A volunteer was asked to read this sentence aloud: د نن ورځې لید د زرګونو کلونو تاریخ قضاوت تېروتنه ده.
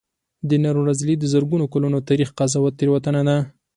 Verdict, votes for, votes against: accepted, 4, 0